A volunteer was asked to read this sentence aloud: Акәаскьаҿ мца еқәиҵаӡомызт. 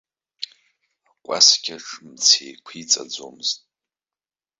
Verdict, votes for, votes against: accepted, 2, 0